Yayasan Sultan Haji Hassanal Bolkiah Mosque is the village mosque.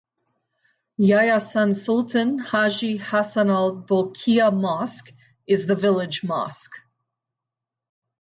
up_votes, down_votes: 2, 2